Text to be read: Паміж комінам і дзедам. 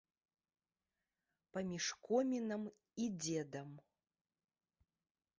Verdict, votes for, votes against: accepted, 2, 1